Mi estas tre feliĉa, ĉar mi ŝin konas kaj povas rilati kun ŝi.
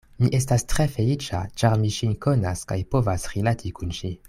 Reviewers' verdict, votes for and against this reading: accepted, 2, 0